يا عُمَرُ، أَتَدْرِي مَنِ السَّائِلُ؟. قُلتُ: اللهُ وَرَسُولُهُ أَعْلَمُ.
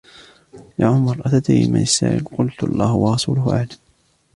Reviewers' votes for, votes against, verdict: 2, 0, accepted